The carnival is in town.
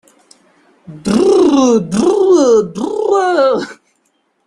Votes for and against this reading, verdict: 0, 2, rejected